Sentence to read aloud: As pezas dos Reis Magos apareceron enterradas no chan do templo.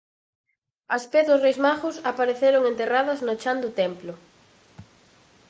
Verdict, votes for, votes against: rejected, 0, 4